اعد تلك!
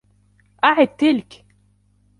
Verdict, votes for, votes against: accepted, 2, 0